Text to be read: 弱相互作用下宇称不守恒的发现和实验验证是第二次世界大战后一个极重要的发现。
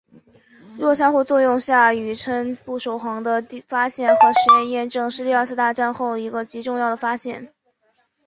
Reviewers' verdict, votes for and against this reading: accepted, 3, 0